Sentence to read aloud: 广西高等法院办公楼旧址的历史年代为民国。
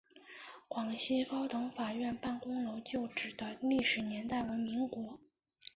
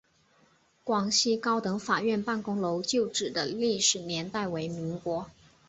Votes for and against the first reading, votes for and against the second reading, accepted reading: 0, 2, 5, 0, second